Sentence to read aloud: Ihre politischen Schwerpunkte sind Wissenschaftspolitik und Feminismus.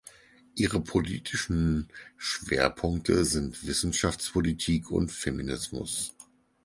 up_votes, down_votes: 4, 0